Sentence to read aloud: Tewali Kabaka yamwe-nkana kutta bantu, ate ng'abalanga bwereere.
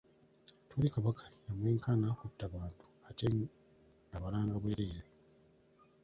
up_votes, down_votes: 1, 2